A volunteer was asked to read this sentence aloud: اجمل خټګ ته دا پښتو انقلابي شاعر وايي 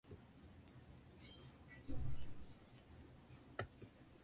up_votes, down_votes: 0, 2